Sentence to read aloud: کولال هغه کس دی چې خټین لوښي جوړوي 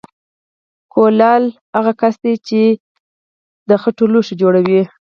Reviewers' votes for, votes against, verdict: 4, 0, accepted